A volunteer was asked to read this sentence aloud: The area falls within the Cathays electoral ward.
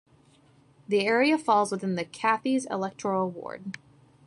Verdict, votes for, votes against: accepted, 2, 0